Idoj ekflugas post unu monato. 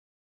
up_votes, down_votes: 1, 2